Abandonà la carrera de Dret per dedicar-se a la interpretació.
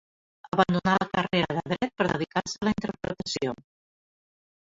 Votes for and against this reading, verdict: 2, 0, accepted